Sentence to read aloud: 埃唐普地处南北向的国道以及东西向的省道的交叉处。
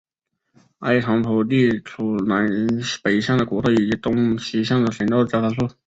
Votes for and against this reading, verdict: 0, 3, rejected